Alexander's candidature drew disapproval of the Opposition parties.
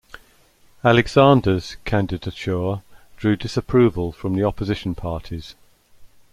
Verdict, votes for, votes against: rejected, 1, 2